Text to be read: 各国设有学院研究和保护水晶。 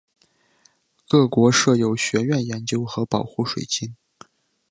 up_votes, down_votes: 2, 1